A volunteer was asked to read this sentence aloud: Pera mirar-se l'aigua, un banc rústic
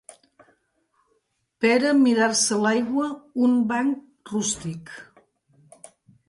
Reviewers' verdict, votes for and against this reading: accepted, 2, 0